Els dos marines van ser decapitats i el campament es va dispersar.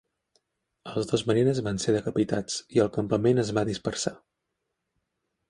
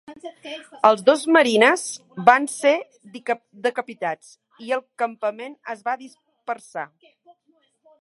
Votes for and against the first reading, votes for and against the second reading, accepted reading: 3, 0, 2, 3, first